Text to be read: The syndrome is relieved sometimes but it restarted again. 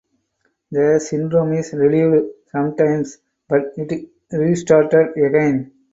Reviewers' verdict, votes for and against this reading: accepted, 2, 0